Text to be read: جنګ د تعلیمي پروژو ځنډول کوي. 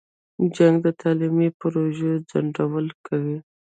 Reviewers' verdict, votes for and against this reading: rejected, 1, 2